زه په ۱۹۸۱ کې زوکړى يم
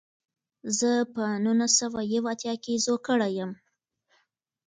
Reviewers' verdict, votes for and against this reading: rejected, 0, 2